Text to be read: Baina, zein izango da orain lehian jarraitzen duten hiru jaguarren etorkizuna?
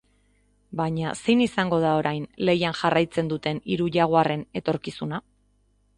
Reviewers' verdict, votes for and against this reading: accepted, 2, 0